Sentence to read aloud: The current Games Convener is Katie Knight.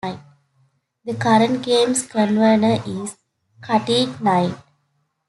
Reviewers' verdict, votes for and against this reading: rejected, 0, 2